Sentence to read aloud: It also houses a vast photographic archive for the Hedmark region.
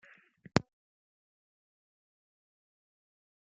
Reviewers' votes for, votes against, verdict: 0, 2, rejected